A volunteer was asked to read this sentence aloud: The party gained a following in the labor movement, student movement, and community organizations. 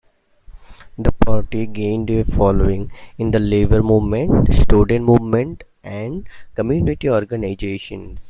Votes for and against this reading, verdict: 2, 1, accepted